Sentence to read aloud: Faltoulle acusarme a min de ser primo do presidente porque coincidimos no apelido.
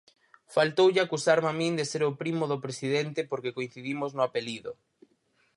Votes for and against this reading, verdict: 0, 4, rejected